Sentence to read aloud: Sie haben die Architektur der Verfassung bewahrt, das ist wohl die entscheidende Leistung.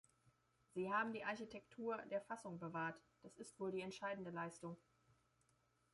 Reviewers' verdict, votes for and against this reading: rejected, 0, 2